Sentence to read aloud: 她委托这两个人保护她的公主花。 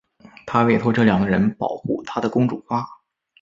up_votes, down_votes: 4, 0